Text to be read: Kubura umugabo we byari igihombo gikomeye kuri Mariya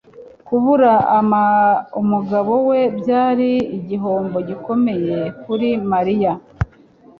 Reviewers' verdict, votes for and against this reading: rejected, 1, 2